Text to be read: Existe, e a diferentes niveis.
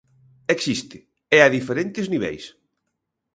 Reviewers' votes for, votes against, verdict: 2, 0, accepted